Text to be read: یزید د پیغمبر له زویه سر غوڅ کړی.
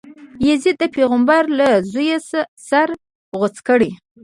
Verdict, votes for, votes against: rejected, 1, 2